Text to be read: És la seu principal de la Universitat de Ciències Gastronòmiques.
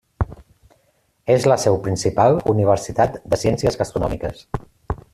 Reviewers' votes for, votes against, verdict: 0, 2, rejected